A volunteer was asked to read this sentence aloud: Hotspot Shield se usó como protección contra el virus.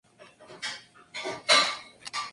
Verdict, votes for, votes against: rejected, 0, 4